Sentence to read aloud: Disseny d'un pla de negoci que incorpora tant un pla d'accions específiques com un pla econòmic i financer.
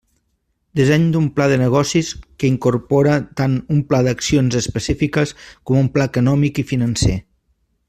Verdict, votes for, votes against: rejected, 1, 2